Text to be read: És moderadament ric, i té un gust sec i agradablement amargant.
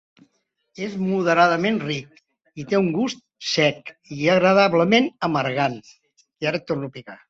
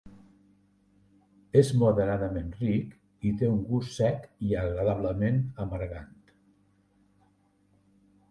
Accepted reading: second